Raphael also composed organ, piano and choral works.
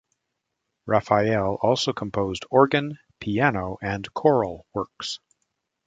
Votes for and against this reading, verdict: 2, 0, accepted